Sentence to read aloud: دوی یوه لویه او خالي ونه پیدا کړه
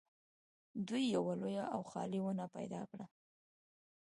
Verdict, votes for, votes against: rejected, 1, 2